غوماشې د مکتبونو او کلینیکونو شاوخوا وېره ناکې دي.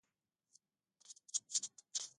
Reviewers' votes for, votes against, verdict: 0, 2, rejected